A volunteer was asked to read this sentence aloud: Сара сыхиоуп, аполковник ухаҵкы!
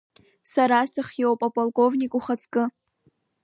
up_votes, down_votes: 1, 2